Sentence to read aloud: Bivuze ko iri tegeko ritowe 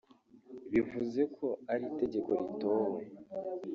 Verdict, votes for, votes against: rejected, 0, 2